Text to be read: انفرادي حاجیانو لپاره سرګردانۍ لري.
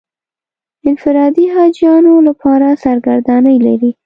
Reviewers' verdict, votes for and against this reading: accepted, 2, 0